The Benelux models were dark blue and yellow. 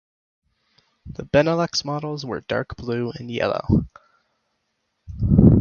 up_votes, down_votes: 4, 0